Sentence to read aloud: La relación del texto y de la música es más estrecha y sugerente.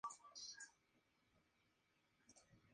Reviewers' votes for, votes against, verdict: 2, 0, accepted